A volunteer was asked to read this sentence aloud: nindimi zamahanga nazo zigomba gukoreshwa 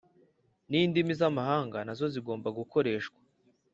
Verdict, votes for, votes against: accepted, 2, 0